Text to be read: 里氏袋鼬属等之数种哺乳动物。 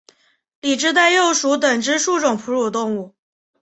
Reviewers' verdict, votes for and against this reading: rejected, 1, 2